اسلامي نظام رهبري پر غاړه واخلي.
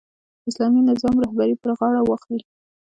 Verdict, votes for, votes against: rejected, 1, 2